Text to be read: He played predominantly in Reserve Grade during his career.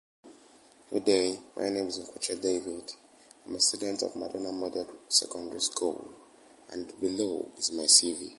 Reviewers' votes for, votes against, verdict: 0, 3, rejected